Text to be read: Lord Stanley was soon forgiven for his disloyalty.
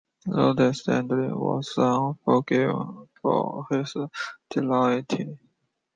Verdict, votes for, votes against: rejected, 0, 3